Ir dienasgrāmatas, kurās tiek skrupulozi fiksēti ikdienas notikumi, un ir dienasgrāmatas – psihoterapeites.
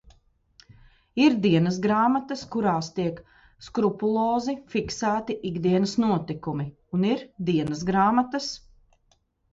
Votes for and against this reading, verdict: 0, 2, rejected